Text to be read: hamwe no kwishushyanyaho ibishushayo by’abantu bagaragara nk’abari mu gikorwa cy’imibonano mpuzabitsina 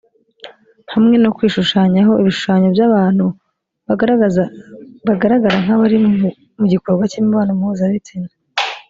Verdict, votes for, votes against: rejected, 0, 2